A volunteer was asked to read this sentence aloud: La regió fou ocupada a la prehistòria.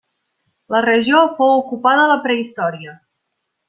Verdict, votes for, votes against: accepted, 2, 0